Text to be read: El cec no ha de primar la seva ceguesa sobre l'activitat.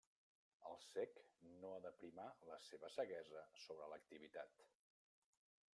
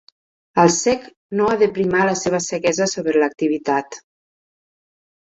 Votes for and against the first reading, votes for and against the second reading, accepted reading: 0, 2, 4, 0, second